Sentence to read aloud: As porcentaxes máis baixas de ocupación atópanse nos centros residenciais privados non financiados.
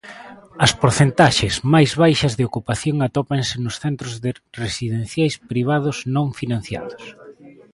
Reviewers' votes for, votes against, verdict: 0, 2, rejected